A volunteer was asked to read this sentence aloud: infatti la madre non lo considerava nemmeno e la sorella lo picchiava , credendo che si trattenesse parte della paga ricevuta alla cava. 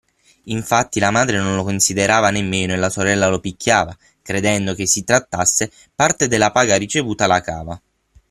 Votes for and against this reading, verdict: 3, 6, rejected